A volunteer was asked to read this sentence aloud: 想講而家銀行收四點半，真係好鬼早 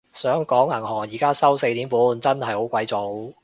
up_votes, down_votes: 0, 2